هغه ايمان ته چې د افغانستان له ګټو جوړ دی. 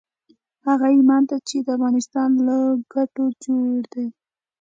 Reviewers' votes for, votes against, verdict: 2, 1, accepted